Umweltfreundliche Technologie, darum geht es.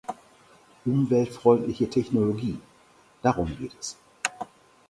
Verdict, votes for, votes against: accepted, 4, 0